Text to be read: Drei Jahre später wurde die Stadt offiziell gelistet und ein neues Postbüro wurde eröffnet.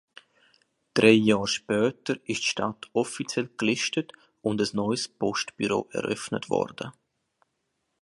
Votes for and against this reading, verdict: 2, 1, accepted